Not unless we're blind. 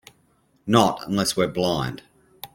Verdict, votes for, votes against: accepted, 2, 0